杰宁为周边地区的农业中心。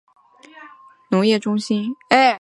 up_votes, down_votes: 1, 3